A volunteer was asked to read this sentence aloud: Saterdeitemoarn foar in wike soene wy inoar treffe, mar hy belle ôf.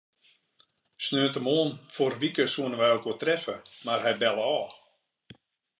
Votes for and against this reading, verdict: 1, 2, rejected